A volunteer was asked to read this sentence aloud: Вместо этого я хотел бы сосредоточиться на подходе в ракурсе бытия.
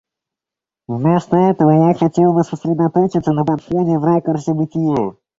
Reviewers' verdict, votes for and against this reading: rejected, 1, 2